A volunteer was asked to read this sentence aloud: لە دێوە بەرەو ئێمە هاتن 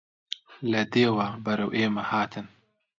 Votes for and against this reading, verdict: 2, 0, accepted